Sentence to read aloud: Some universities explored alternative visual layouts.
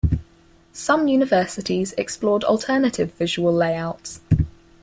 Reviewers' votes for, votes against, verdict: 4, 0, accepted